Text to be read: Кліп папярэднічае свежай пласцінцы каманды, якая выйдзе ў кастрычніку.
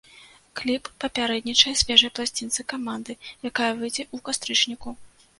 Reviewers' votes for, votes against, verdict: 0, 2, rejected